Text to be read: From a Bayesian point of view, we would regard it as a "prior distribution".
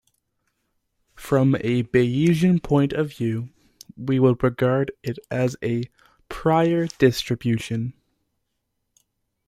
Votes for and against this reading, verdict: 3, 0, accepted